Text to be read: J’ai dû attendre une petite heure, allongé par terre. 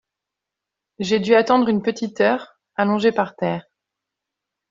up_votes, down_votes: 2, 0